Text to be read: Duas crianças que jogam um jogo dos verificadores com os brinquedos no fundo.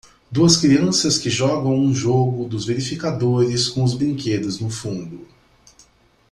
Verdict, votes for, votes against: accepted, 2, 0